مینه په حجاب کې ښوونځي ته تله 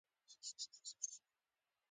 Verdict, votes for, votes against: accepted, 2, 0